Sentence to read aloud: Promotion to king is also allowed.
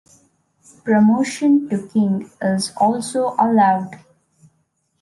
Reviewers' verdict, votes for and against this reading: accepted, 2, 0